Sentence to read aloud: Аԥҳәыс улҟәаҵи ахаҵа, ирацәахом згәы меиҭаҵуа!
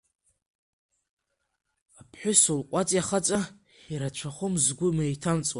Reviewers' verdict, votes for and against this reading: accepted, 3, 0